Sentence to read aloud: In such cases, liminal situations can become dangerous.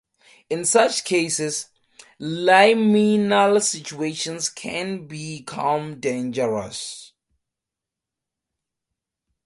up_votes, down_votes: 2, 0